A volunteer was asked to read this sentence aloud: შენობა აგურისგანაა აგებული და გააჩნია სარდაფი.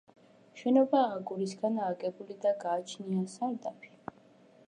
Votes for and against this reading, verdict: 2, 0, accepted